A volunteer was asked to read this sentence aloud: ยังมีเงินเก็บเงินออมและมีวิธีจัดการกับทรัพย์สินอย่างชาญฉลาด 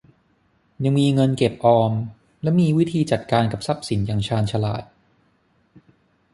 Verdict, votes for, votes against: rejected, 0, 6